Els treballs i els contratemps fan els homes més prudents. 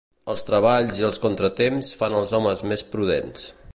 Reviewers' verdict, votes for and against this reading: accepted, 2, 0